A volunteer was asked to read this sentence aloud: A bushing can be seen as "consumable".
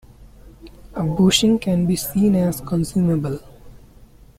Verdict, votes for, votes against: accepted, 2, 0